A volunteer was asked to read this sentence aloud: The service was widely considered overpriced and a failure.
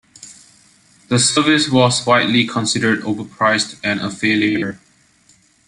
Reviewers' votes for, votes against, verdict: 2, 0, accepted